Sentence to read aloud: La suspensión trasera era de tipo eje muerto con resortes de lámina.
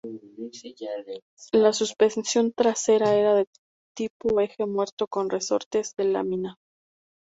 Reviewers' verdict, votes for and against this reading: rejected, 0, 2